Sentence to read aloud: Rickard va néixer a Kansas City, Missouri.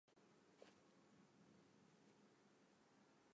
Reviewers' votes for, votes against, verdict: 0, 2, rejected